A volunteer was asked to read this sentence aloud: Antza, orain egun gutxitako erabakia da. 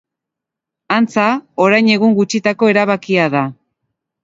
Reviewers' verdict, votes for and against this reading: accepted, 2, 0